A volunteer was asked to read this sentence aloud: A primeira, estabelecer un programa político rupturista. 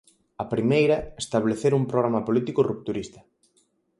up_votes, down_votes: 0, 4